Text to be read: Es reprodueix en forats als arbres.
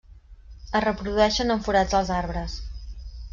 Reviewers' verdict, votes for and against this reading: rejected, 1, 2